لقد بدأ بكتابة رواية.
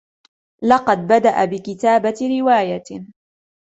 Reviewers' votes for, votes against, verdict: 2, 0, accepted